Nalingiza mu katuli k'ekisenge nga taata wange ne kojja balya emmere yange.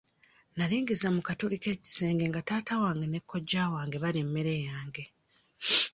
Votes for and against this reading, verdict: 2, 1, accepted